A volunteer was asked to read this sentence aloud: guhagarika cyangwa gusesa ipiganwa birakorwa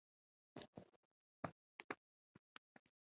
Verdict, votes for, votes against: rejected, 1, 2